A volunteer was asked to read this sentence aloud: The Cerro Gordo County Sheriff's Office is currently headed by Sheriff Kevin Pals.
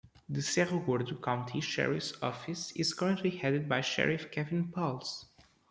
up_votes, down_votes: 2, 0